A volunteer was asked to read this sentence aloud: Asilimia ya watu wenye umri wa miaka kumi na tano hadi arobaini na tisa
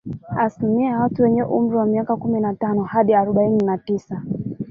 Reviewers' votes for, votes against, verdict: 0, 2, rejected